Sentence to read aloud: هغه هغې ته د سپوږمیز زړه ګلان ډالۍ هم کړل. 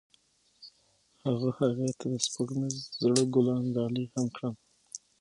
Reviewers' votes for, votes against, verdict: 6, 0, accepted